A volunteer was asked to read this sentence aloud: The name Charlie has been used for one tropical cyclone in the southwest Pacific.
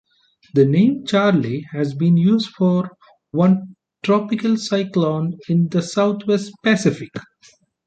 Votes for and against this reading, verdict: 2, 0, accepted